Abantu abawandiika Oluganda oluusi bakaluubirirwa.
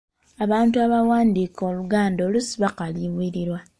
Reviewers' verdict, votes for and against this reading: accepted, 2, 1